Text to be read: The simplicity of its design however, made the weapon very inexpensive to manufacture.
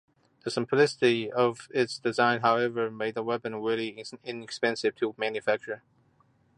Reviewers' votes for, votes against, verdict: 2, 0, accepted